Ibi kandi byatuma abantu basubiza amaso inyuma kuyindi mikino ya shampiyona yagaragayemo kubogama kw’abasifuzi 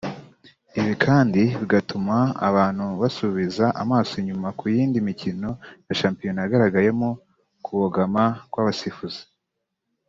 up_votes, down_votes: 2, 3